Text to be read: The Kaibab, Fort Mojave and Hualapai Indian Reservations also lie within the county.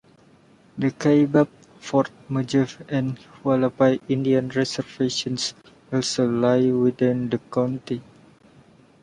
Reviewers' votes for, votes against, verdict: 2, 1, accepted